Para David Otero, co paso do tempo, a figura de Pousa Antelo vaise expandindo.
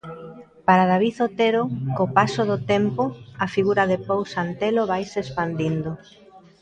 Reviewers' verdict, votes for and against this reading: accepted, 2, 0